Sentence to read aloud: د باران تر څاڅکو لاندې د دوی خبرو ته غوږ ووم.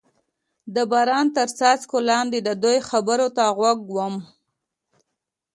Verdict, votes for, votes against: accepted, 2, 0